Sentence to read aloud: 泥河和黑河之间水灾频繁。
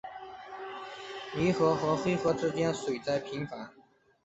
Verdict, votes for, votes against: accepted, 2, 0